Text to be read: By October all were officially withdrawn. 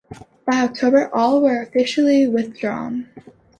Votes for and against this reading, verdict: 2, 0, accepted